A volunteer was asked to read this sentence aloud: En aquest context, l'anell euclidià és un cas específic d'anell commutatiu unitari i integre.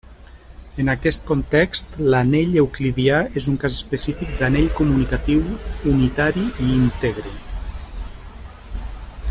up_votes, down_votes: 1, 2